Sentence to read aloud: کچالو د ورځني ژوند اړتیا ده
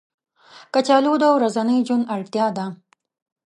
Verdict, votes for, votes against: accepted, 2, 1